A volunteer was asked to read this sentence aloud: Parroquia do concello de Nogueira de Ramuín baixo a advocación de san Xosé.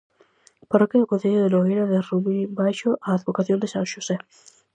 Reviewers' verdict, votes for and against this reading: accepted, 4, 0